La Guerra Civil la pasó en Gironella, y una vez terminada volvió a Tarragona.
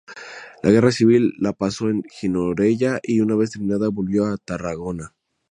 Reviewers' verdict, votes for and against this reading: rejected, 2, 2